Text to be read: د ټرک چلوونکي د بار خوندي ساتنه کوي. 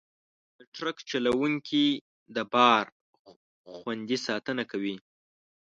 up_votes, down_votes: 2, 0